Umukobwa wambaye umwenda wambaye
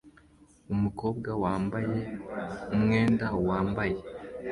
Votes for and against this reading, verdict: 2, 1, accepted